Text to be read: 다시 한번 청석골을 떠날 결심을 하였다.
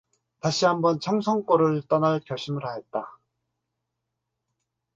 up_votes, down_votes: 0, 4